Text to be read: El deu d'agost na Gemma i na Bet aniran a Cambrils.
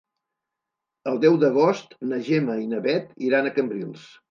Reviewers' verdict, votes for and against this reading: rejected, 1, 2